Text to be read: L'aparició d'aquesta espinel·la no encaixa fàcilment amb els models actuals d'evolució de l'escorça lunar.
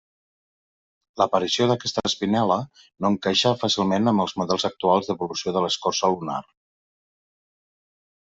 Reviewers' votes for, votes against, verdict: 2, 0, accepted